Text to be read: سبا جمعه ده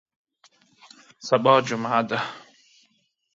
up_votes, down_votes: 3, 0